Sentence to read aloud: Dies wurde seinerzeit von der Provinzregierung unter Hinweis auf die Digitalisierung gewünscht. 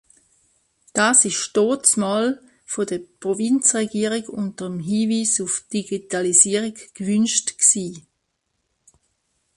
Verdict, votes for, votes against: rejected, 0, 2